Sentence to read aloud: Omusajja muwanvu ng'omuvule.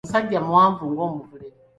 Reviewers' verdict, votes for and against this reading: accepted, 2, 0